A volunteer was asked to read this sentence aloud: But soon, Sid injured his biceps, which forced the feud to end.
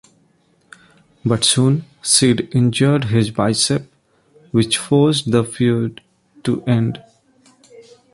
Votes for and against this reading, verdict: 1, 2, rejected